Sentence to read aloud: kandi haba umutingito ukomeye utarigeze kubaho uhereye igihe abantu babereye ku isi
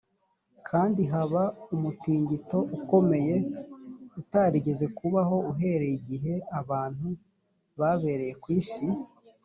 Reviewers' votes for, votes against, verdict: 2, 0, accepted